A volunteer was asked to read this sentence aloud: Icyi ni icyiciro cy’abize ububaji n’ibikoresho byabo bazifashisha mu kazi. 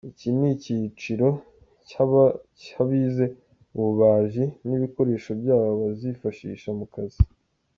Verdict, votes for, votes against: accepted, 2, 1